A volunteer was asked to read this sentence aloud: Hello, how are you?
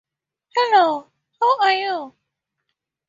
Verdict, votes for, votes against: accepted, 4, 0